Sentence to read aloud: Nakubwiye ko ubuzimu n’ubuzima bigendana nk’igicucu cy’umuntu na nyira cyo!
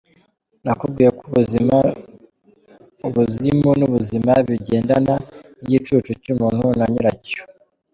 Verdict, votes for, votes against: rejected, 0, 3